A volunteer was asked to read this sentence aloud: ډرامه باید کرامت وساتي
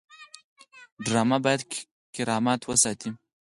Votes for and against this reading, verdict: 4, 2, accepted